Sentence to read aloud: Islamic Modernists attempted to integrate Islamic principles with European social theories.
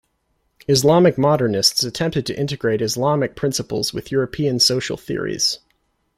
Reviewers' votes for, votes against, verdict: 2, 0, accepted